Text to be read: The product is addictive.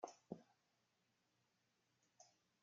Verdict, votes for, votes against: rejected, 0, 2